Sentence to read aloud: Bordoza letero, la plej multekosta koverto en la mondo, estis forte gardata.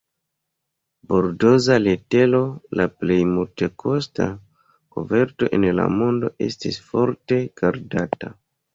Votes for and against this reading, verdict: 0, 2, rejected